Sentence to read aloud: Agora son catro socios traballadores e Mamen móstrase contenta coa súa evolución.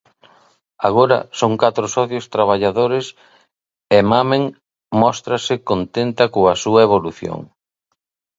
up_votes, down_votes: 8, 3